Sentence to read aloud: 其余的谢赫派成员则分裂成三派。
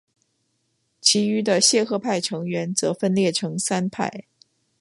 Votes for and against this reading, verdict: 7, 0, accepted